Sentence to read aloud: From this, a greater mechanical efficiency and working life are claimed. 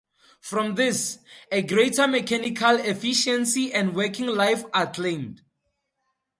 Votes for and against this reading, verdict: 2, 0, accepted